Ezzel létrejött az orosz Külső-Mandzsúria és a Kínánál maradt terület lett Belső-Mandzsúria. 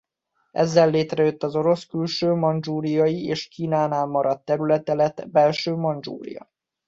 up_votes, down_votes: 0, 2